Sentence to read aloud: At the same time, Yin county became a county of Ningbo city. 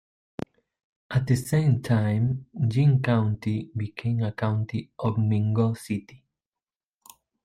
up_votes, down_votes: 2, 0